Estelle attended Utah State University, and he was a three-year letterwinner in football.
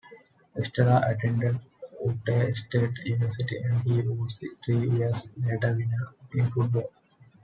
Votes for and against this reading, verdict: 0, 2, rejected